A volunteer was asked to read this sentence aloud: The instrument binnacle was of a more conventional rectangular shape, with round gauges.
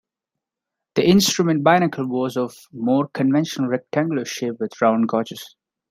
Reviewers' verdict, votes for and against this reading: accepted, 2, 0